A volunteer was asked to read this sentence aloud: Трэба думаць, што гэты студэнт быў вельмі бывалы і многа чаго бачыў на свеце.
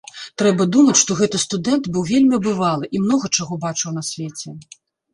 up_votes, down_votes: 0, 2